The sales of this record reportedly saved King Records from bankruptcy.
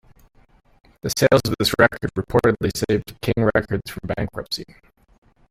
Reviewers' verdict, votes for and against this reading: rejected, 1, 2